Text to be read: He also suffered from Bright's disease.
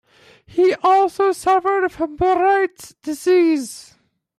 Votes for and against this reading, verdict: 0, 2, rejected